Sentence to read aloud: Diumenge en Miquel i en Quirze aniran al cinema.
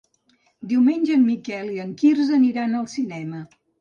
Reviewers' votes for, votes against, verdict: 2, 0, accepted